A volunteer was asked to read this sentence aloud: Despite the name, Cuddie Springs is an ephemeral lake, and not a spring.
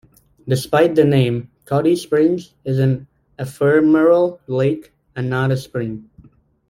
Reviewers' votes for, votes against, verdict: 1, 2, rejected